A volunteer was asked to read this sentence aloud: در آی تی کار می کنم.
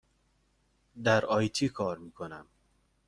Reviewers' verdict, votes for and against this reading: accepted, 2, 0